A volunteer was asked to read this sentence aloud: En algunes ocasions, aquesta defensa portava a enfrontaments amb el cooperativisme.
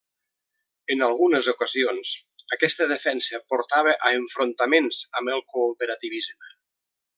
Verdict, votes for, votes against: accepted, 3, 0